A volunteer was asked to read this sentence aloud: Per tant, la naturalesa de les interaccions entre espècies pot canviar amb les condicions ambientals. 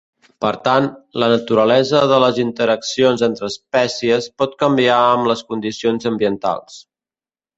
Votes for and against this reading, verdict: 2, 0, accepted